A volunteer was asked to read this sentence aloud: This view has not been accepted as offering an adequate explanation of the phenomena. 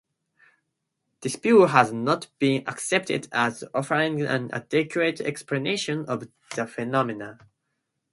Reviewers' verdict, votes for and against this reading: rejected, 0, 2